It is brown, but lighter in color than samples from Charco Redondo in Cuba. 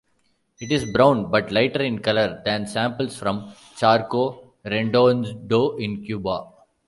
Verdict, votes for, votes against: rejected, 0, 2